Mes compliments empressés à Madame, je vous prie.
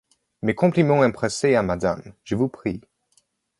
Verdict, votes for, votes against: accepted, 2, 0